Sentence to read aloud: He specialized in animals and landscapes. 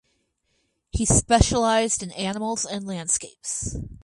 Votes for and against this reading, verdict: 2, 2, rejected